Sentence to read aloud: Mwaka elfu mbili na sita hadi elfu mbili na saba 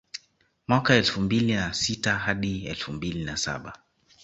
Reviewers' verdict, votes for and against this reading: accepted, 2, 1